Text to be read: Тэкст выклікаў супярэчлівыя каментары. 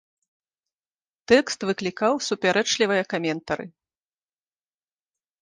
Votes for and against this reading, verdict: 1, 2, rejected